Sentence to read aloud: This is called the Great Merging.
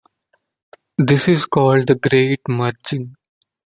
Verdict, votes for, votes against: rejected, 1, 2